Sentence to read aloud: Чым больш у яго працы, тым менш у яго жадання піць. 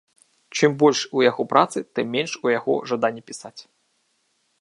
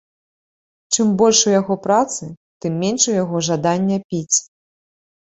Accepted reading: second